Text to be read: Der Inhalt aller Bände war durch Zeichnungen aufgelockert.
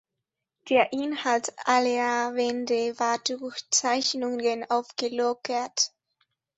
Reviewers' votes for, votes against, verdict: 1, 2, rejected